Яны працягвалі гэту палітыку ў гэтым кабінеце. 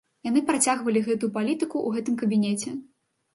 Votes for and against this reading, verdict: 2, 0, accepted